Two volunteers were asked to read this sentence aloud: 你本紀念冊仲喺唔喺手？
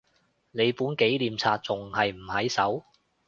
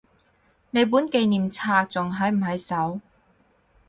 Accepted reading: second